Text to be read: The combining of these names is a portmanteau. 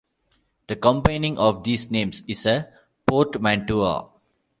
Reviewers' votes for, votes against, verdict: 0, 2, rejected